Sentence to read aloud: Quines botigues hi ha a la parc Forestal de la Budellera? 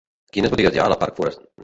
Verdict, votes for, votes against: rejected, 1, 2